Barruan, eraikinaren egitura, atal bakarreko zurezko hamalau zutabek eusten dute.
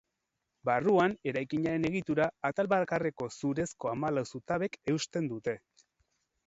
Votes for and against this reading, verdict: 6, 0, accepted